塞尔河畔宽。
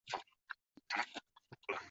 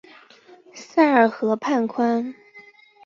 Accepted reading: second